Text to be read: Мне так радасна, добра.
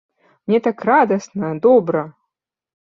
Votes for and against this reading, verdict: 3, 0, accepted